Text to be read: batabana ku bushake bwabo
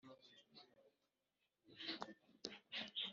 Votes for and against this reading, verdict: 2, 1, accepted